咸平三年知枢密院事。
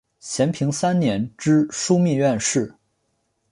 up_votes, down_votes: 3, 1